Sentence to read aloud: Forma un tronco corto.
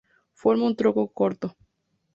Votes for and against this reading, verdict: 0, 2, rejected